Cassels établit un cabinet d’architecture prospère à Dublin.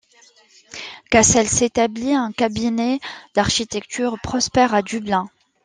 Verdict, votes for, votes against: accepted, 2, 1